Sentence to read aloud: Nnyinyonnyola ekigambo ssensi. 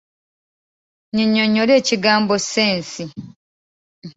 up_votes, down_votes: 2, 0